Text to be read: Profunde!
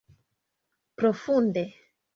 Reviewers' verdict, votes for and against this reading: accepted, 2, 0